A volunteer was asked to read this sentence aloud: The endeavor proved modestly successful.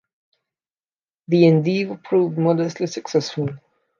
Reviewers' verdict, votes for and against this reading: accepted, 2, 0